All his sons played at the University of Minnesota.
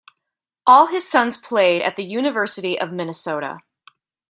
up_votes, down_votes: 0, 2